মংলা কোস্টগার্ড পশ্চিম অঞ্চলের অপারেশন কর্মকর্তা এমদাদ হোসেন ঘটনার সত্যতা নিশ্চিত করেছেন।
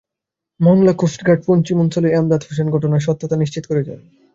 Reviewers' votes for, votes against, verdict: 0, 2, rejected